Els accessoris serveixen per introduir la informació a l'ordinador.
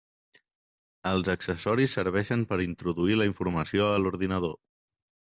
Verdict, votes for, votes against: accepted, 3, 0